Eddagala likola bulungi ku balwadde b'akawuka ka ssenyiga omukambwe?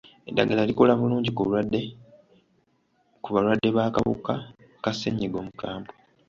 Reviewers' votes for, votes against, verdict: 0, 2, rejected